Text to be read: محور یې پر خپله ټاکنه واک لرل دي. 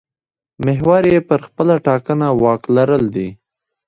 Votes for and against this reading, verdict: 0, 2, rejected